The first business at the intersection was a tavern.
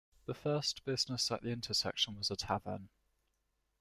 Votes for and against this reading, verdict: 2, 0, accepted